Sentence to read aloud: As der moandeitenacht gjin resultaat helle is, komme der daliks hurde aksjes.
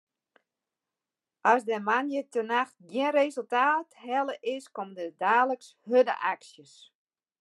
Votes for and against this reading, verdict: 2, 1, accepted